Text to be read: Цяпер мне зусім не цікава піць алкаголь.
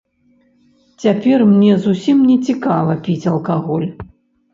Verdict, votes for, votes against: accepted, 2, 0